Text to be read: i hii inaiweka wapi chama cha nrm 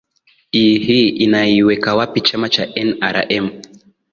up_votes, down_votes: 8, 5